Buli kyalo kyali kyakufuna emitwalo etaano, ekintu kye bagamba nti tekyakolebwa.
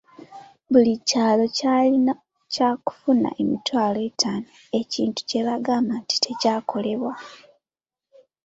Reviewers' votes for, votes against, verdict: 2, 1, accepted